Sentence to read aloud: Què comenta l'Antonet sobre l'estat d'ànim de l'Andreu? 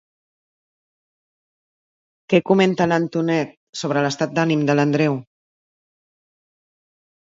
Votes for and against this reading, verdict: 2, 0, accepted